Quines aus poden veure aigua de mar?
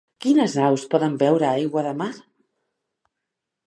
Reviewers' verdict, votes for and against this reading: accepted, 2, 0